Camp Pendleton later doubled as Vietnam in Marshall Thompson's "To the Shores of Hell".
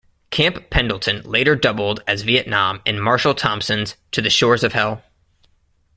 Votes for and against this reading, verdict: 2, 0, accepted